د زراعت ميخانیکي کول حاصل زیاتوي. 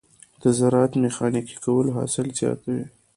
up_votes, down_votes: 0, 2